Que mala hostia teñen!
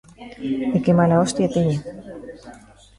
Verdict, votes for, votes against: rejected, 0, 2